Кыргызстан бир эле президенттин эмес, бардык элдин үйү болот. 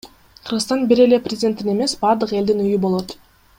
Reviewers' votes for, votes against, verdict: 2, 0, accepted